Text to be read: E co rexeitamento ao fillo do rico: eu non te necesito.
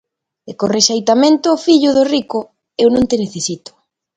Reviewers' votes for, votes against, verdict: 2, 0, accepted